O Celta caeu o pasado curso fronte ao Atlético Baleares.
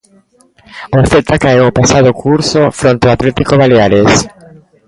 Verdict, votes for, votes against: rejected, 1, 2